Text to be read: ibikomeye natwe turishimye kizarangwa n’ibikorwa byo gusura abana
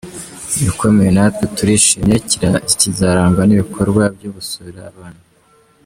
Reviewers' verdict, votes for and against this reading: rejected, 0, 2